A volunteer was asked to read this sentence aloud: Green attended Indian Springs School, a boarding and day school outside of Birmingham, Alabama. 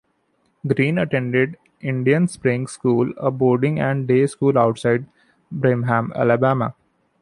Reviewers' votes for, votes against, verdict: 0, 2, rejected